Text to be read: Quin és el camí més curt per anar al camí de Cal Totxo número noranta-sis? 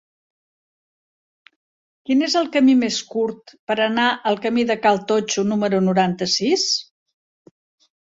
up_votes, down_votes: 3, 0